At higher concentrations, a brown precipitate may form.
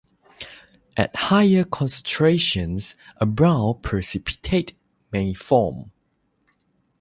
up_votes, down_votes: 3, 0